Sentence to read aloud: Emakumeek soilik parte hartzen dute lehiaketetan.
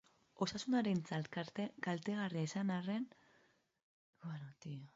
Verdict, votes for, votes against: rejected, 0, 2